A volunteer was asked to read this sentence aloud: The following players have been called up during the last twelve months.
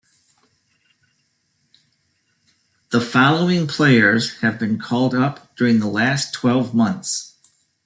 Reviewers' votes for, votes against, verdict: 1, 2, rejected